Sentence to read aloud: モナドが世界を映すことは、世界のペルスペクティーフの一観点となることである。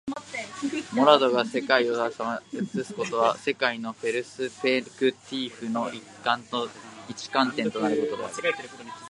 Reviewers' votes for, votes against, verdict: 0, 2, rejected